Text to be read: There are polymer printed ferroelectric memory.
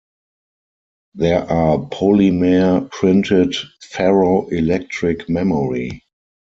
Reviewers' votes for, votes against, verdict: 2, 4, rejected